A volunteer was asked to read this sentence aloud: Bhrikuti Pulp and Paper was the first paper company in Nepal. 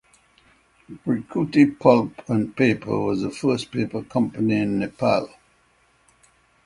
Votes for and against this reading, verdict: 6, 0, accepted